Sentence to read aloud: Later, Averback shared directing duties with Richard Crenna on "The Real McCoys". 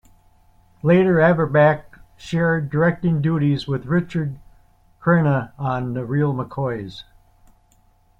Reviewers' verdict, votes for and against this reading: accepted, 2, 0